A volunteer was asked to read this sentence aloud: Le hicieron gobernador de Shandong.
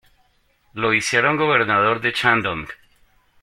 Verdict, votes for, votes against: rejected, 1, 2